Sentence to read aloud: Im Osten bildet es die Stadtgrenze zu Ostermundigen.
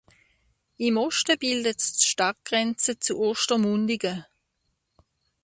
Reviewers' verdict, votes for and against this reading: accepted, 2, 1